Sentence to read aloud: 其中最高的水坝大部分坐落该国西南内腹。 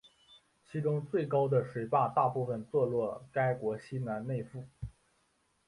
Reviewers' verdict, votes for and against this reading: rejected, 1, 2